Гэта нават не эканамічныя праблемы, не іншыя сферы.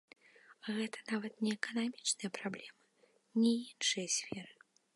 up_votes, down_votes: 1, 2